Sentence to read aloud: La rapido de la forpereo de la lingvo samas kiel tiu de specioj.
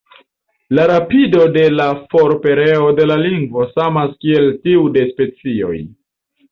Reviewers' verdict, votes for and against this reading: accepted, 2, 0